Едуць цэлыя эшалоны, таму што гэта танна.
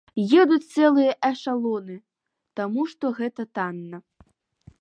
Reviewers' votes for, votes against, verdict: 2, 0, accepted